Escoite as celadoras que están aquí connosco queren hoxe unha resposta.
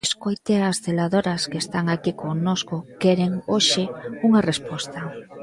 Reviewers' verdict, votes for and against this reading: rejected, 1, 2